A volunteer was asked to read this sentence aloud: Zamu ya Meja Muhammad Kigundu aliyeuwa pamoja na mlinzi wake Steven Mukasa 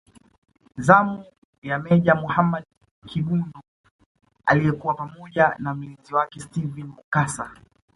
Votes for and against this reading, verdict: 1, 2, rejected